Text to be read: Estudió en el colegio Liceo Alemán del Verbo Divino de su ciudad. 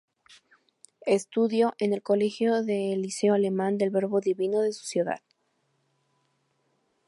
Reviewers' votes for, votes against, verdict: 0, 2, rejected